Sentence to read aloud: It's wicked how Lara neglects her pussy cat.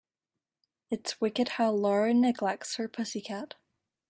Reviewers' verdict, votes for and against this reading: accepted, 2, 0